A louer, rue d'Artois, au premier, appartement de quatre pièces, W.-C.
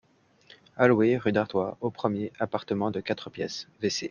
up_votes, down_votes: 2, 1